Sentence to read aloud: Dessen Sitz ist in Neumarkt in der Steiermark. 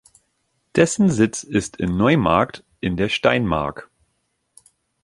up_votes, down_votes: 1, 2